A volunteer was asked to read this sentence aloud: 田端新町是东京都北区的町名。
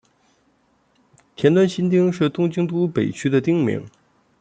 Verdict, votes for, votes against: accepted, 2, 0